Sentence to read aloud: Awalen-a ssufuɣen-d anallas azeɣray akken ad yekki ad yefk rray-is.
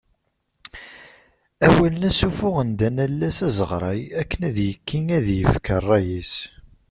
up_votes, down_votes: 2, 1